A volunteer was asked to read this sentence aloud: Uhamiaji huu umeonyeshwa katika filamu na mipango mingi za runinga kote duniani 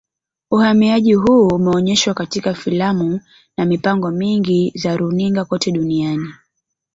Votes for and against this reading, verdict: 0, 2, rejected